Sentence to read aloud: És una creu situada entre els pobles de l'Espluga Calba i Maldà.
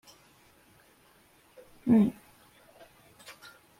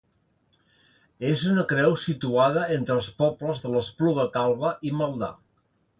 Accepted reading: second